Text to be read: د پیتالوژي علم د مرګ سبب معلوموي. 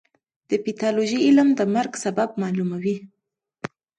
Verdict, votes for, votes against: accepted, 2, 0